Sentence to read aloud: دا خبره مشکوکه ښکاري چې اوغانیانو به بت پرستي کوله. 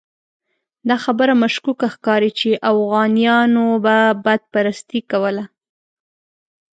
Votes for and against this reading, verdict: 0, 2, rejected